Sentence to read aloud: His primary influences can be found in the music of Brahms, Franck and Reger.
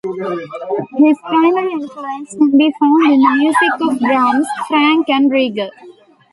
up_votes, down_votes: 0, 2